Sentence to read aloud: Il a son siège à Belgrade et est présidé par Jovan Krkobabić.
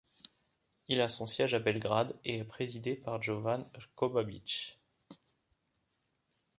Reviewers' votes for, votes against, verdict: 2, 0, accepted